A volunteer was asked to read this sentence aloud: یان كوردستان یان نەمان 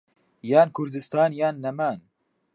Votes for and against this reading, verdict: 3, 0, accepted